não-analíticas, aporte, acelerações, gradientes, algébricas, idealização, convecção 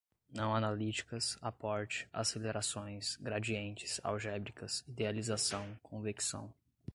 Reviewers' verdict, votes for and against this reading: accepted, 2, 0